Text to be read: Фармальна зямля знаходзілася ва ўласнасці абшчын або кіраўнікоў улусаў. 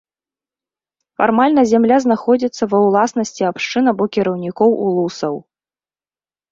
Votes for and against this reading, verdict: 1, 2, rejected